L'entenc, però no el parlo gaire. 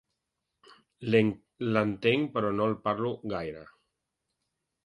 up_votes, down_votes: 1, 2